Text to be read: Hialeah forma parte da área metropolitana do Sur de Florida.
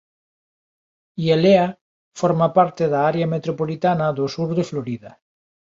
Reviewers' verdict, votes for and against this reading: accepted, 2, 0